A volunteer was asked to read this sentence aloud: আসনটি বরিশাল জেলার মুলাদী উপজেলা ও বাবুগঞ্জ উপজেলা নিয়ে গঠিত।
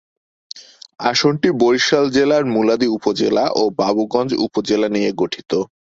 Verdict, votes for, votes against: accepted, 4, 0